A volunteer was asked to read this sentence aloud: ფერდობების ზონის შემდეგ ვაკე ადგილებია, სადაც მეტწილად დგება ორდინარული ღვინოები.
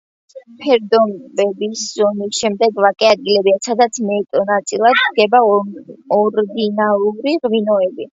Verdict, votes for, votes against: rejected, 0, 2